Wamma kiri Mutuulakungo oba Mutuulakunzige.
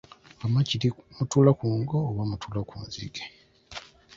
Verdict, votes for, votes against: rejected, 1, 2